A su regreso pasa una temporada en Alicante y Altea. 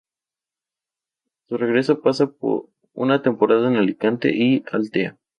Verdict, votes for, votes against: rejected, 0, 2